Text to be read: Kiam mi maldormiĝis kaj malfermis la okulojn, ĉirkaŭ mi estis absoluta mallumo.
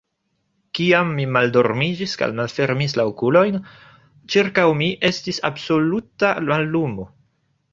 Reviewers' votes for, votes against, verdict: 1, 2, rejected